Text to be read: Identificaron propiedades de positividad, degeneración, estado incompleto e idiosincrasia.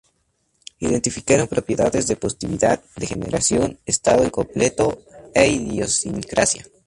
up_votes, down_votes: 2, 0